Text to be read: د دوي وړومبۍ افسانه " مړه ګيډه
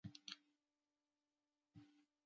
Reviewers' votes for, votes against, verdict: 0, 2, rejected